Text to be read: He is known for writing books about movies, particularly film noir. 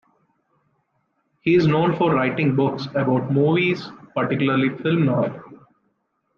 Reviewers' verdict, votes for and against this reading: accepted, 2, 0